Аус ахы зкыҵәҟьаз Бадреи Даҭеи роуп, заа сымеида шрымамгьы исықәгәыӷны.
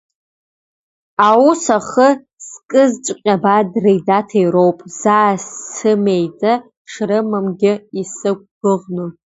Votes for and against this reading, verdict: 0, 2, rejected